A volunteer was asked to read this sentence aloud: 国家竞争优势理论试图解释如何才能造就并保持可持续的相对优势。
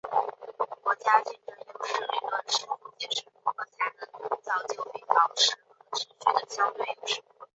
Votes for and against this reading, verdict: 0, 2, rejected